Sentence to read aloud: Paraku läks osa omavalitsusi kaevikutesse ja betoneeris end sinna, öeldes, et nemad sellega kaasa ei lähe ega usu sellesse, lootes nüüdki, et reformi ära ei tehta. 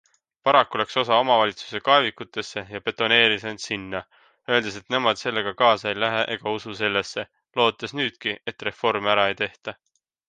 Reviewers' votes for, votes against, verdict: 2, 0, accepted